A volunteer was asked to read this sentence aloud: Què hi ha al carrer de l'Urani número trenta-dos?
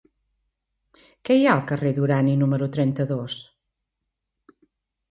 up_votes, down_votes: 0, 2